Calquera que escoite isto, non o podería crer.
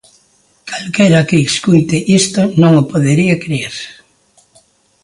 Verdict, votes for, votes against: accepted, 2, 0